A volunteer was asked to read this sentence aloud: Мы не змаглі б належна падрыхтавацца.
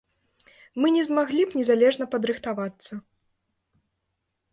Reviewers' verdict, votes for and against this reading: rejected, 0, 2